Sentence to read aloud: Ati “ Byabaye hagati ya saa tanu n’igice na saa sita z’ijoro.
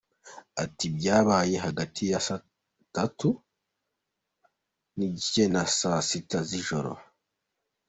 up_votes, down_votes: 2, 1